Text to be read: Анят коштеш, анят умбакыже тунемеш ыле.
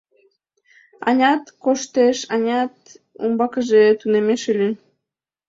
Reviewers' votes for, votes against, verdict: 3, 0, accepted